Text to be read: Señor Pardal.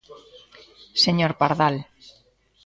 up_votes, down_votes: 2, 1